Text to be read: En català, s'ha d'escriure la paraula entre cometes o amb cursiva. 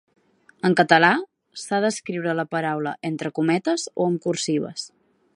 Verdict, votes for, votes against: rejected, 0, 2